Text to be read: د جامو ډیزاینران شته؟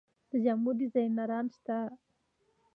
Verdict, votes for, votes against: rejected, 1, 2